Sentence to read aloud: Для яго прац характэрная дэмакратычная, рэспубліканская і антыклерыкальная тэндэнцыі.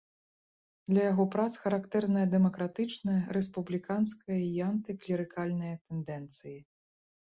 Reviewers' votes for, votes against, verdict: 2, 0, accepted